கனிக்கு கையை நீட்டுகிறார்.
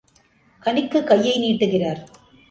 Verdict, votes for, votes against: accepted, 2, 0